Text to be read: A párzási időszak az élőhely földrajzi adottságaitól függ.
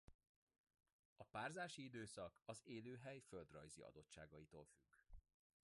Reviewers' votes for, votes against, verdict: 1, 2, rejected